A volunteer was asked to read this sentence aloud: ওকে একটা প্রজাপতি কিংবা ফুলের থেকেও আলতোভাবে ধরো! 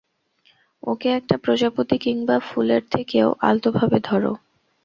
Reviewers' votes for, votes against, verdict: 0, 2, rejected